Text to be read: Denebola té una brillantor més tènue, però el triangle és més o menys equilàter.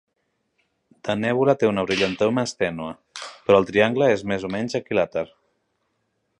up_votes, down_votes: 1, 2